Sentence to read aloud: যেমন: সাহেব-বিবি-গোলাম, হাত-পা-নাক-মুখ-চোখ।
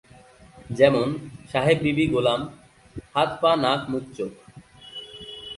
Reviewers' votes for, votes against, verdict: 2, 0, accepted